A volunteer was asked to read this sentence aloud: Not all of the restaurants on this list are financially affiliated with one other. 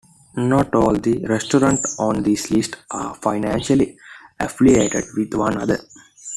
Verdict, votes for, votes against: accepted, 2, 1